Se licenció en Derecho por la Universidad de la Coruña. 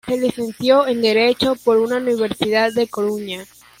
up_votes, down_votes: 1, 2